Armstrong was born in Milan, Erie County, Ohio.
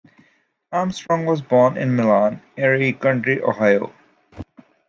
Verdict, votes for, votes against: rejected, 0, 2